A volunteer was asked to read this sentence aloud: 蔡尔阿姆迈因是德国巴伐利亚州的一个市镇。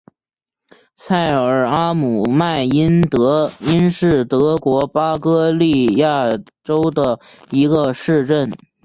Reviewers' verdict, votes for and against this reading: accepted, 3, 2